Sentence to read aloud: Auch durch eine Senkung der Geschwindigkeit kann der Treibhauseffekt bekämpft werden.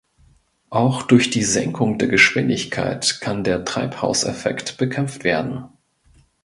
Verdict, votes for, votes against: rejected, 0, 2